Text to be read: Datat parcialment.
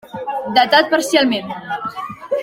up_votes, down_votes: 2, 1